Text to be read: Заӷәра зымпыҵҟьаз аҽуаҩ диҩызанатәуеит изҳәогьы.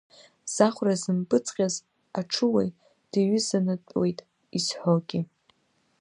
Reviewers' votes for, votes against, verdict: 2, 0, accepted